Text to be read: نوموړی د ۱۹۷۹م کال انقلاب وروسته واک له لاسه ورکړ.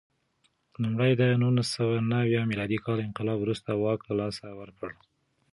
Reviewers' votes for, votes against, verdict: 0, 2, rejected